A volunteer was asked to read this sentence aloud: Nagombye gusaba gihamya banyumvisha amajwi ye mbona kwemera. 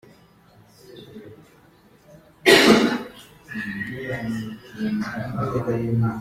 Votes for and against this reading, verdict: 0, 2, rejected